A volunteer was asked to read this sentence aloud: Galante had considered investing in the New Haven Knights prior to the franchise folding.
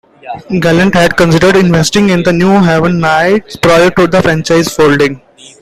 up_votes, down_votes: 2, 0